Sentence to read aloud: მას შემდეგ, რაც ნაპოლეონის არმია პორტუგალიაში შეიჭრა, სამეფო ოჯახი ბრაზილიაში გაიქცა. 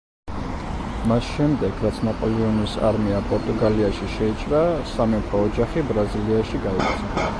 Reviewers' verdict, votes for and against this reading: rejected, 1, 2